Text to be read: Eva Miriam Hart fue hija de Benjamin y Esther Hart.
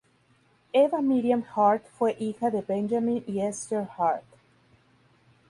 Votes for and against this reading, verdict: 2, 0, accepted